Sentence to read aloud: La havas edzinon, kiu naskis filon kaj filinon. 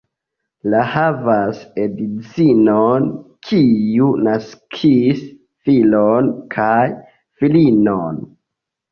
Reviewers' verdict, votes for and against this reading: accepted, 2, 1